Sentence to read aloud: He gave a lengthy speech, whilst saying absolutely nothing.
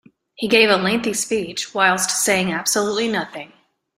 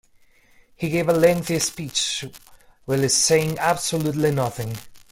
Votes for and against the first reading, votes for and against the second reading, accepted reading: 2, 0, 1, 2, first